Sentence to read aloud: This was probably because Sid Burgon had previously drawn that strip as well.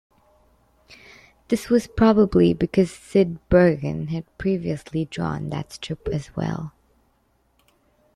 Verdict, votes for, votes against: accepted, 2, 0